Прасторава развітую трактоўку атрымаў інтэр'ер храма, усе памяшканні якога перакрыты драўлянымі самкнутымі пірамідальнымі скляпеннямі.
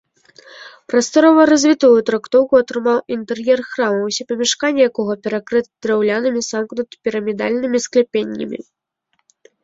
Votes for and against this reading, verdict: 2, 0, accepted